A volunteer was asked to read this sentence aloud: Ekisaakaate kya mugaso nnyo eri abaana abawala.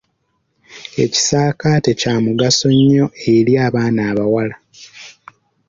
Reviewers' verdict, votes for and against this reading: accepted, 2, 0